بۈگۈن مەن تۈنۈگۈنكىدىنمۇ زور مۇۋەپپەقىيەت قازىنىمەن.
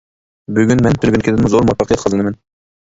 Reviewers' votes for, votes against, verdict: 0, 2, rejected